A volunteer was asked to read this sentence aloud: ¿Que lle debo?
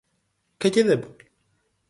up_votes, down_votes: 4, 0